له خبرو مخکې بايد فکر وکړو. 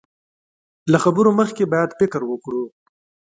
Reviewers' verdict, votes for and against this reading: rejected, 1, 2